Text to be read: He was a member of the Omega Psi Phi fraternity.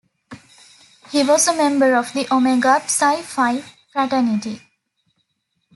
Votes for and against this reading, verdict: 1, 2, rejected